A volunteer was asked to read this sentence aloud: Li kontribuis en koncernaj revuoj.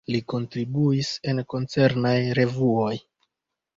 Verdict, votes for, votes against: rejected, 0, 3